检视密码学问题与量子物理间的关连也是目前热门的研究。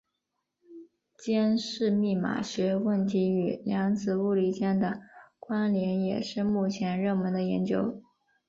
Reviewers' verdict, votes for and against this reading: accepted, 6, 1